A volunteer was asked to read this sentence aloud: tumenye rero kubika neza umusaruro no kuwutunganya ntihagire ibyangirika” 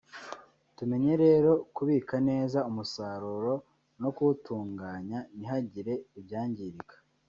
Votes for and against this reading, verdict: 1, 2, rejected